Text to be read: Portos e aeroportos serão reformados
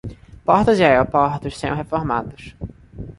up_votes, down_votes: 2, 0